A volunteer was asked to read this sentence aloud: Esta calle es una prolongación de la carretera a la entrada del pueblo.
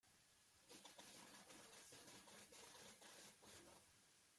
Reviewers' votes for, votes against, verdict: 0, 2, rejected